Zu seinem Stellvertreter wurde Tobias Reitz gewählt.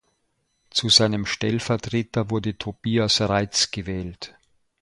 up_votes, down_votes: 2, 0